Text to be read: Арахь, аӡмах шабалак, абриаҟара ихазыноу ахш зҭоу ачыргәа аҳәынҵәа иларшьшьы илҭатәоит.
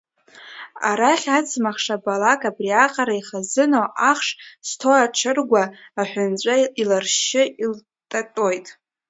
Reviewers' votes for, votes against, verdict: 0, 2, rejected